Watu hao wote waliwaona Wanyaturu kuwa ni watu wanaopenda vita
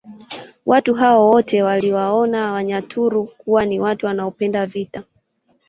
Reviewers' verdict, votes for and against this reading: accepted, 2, 1